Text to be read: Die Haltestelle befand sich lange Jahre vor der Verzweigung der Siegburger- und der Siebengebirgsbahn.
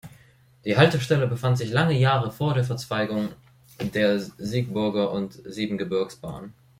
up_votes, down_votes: 0, 2